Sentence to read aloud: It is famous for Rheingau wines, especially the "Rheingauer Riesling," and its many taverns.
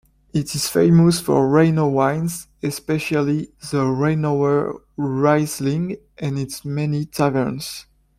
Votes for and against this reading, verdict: 2, 0, accepted